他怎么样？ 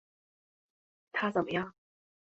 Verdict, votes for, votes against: accepted, 5, 0